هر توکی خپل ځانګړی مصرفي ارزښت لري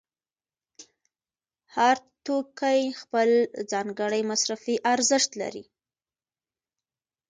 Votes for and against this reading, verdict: 2, 0, accepted